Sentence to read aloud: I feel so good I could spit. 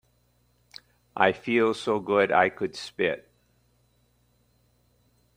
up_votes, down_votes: 3, 0